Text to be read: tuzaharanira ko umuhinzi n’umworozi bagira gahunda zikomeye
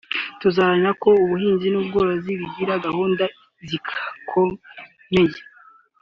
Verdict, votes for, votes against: accepted, 3, 1